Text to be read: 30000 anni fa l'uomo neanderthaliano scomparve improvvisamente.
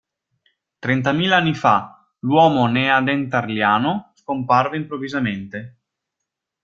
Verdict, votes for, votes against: rejected, 0, 2